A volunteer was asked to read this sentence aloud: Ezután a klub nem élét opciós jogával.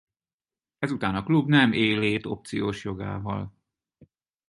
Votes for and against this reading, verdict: 0, 4, rejected